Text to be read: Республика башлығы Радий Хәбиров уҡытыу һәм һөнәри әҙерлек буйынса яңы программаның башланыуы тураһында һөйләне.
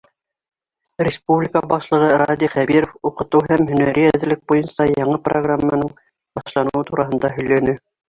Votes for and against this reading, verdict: 0, 2, rejected